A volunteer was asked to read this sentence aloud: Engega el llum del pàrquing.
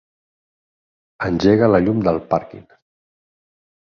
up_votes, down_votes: 4, 8